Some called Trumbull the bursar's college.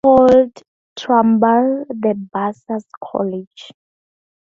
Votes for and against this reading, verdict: 2, 0, accepted